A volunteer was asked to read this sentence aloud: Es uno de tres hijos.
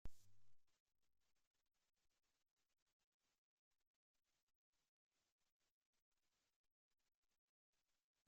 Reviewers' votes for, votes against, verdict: 0, 2, rejected